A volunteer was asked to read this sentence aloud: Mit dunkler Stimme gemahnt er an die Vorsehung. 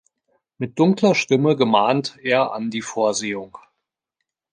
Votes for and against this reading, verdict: 2, 0, accepted